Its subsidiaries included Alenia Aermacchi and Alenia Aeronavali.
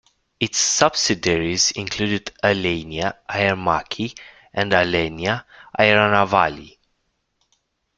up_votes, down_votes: 2, 0